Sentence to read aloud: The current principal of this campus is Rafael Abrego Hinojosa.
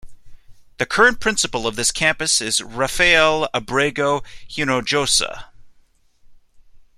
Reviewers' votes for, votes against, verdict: 2, 0, accepted